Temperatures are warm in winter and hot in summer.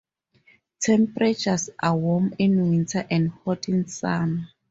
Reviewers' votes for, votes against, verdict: 2, 2, rejected